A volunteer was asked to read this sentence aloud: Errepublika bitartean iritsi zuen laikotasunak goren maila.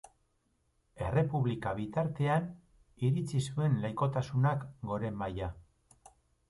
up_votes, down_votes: 2, 0